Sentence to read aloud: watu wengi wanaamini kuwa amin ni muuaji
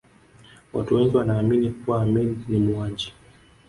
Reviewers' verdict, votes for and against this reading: rejected, 1, 2